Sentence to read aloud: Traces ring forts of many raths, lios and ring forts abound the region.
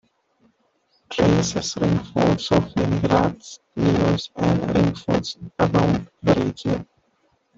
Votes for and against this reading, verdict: 1, 2, rejected